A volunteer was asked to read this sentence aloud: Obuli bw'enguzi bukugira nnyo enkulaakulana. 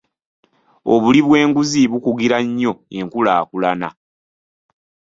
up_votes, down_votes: 2, 0